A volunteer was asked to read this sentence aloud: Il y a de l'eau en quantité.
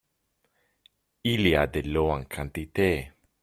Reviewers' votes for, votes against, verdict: 1, 2, rejected